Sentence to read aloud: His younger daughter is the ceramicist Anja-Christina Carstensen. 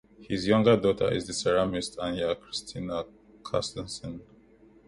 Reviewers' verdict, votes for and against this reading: rejected, 1, 2